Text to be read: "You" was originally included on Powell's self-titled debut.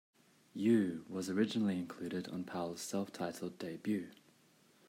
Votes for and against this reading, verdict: 1, 2, rejected